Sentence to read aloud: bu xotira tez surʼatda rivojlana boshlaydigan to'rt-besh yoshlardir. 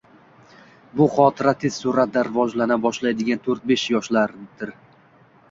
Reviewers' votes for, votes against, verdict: 0, 2, rejected